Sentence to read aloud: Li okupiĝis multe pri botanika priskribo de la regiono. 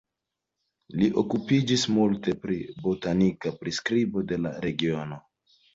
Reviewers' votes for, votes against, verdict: 2, 0, accepted